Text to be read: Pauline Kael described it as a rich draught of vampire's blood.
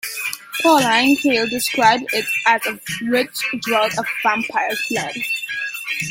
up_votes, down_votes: 1, 2